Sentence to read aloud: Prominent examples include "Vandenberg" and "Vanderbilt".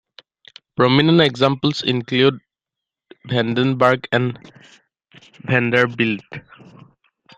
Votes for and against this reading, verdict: 2, 1, accepted